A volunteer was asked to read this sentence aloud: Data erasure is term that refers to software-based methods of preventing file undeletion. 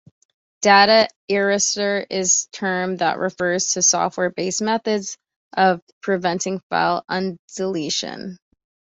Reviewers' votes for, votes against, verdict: 2, 0, accepted